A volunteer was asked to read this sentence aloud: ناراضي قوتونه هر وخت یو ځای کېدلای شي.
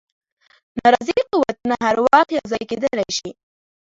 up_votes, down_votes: 2, 0